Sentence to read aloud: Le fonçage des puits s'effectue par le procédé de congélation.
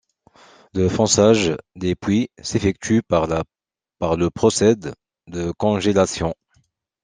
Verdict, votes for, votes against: rejected, 0, 2